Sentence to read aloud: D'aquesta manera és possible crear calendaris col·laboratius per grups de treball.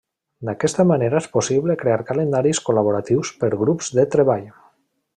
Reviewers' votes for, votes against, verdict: 2, 0, accepted